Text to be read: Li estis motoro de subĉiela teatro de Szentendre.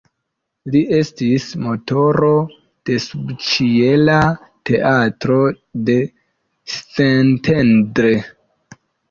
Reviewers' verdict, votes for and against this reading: rejected, 0, 2